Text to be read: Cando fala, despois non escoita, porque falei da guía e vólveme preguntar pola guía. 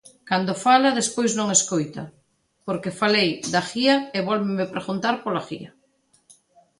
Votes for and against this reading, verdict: 2, 0, accepted